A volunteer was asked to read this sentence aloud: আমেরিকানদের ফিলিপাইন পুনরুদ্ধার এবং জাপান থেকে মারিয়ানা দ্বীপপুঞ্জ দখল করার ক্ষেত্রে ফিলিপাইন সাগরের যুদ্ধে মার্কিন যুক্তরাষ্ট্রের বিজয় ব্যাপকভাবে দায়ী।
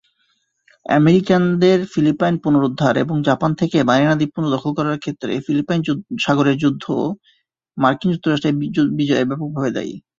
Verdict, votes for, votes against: accepted, 2, 0